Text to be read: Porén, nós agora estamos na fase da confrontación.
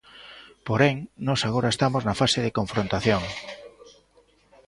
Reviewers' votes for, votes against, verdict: 0, 2, rejected